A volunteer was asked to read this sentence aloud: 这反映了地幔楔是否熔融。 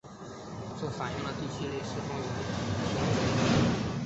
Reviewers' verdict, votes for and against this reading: rejected, 0, 2